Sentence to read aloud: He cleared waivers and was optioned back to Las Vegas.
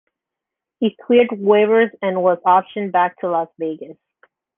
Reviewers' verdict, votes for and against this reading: accepted, 2, 0